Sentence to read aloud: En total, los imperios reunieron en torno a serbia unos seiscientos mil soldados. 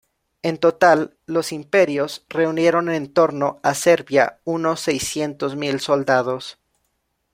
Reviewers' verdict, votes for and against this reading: accepted, 2, 0